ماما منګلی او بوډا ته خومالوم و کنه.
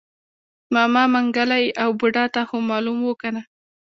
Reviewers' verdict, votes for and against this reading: rejected, 1, 2